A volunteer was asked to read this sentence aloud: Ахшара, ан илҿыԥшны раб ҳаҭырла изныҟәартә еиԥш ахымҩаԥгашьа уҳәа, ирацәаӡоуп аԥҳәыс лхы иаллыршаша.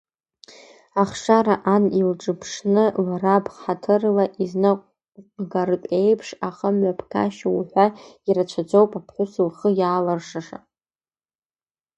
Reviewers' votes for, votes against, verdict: 0, 2, rejected